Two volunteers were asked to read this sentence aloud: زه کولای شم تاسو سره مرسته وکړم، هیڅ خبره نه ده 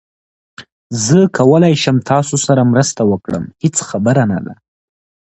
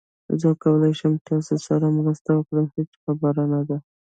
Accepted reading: first